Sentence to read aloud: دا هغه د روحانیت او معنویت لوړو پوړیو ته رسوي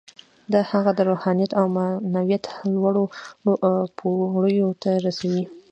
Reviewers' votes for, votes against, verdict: 2, 0, accepted